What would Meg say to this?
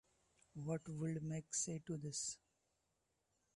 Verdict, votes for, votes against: accepted, 2, 0